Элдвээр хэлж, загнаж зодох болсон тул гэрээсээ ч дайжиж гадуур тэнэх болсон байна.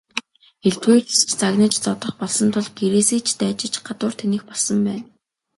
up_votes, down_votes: 2, 0